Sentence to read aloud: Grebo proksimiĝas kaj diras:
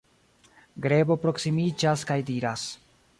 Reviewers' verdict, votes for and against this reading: rejected, 0, 2